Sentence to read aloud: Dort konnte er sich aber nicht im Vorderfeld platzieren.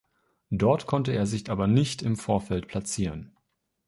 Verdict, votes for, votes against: accepted, 2, 1